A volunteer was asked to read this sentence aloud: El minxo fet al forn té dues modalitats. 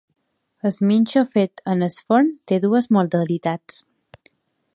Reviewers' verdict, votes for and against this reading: rejected, 0, 2